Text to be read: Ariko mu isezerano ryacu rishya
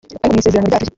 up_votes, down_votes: 1, 2